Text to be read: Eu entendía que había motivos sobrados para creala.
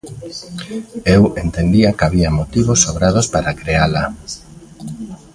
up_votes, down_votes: 1, 2